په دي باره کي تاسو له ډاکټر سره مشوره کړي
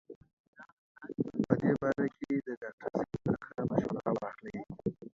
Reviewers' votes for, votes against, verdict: 0, 2, rejected